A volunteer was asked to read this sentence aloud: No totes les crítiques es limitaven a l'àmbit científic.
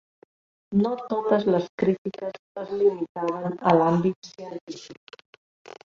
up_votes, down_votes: 0, 2